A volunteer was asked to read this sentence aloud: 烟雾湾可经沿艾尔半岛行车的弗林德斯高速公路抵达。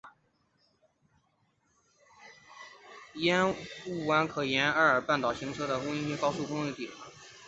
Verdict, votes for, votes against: accepted, 3, 1